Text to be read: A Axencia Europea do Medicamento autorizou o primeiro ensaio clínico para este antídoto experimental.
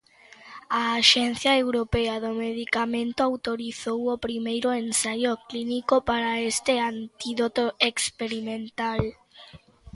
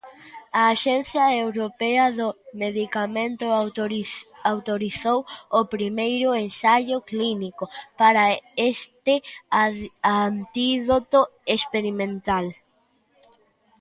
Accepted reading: first